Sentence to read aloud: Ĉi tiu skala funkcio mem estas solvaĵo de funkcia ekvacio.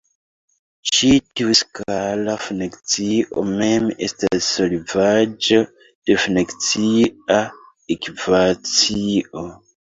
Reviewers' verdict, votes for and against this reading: rejected, 0, 2